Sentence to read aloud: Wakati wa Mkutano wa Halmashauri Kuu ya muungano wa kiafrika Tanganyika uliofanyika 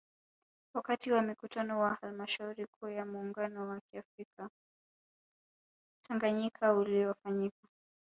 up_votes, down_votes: 2, 1